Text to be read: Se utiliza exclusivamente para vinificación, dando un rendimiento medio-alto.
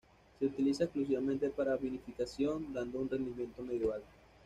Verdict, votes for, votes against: accepted, 2, 0